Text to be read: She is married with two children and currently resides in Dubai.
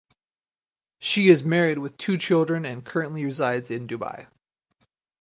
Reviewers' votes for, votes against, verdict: 4, 0, accepted